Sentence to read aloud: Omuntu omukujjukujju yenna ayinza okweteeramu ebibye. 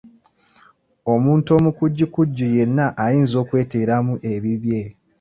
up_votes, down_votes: 2, 0